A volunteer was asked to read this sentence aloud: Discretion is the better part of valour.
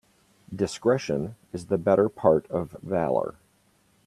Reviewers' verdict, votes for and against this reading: accepted, 2, 0